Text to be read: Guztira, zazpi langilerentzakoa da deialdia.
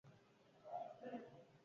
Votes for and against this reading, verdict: 0, 4, rejected